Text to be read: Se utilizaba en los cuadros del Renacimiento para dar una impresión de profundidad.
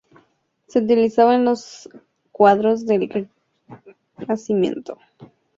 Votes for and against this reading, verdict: 0, 2, rejected